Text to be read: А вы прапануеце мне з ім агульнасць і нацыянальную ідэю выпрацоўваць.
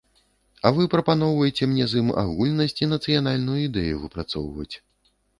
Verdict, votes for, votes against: rejected, 0, 2